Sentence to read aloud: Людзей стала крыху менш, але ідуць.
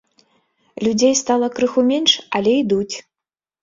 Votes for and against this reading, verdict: 2, 0, accepted